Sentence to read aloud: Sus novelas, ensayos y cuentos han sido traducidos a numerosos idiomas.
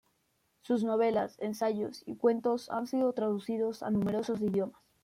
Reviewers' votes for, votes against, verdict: 2, 0, accepted